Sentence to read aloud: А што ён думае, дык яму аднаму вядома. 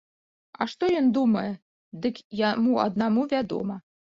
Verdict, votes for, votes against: rejected, 1, 2